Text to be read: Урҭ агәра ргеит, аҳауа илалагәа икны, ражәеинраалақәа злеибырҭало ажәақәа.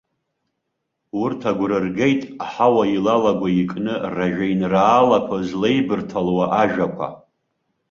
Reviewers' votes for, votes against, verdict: 0, 2, rejected